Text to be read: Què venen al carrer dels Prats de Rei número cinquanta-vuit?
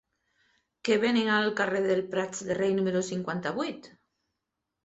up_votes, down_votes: 2, 3